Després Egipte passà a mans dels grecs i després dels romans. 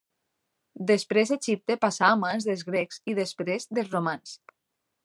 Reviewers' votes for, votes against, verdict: 2, 0, accepted